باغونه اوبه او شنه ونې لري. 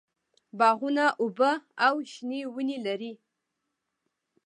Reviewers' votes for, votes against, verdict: 2, 0, accepted